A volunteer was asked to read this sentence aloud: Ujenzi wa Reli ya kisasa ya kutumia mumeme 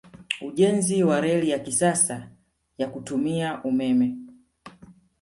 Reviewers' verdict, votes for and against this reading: rejected, 1, 2